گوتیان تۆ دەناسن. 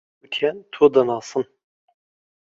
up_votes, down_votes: 2, 1